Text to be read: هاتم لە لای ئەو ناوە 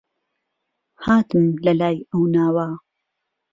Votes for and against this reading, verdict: 2, 0, accepted